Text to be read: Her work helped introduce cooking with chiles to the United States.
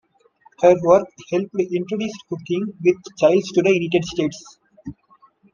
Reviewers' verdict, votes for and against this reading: accepted, 2, 1